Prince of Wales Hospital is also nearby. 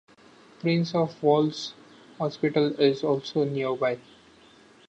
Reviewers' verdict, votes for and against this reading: rejected, 1, 2